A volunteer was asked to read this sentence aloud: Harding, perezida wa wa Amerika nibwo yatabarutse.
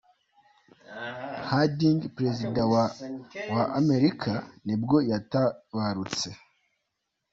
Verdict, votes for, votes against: accepted, 2, 0